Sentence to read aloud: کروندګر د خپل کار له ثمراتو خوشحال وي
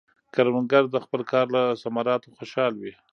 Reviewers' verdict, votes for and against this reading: rejected, 0, 2